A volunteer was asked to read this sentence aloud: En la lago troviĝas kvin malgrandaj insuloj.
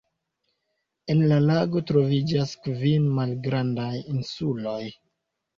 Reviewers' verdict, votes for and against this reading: accepted, 2, 0